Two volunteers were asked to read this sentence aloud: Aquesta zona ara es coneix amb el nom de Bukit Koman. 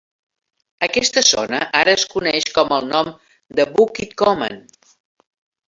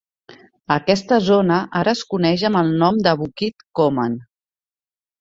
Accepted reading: second